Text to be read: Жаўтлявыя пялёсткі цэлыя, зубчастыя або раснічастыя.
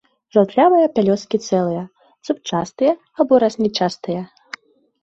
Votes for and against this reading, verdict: 1, 2, rejected